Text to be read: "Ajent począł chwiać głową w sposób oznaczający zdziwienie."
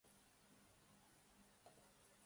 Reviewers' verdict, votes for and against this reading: rejected, 0, 2